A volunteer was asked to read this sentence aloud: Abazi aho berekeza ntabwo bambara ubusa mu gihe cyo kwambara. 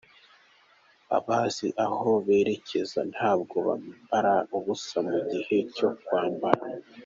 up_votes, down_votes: 1, 2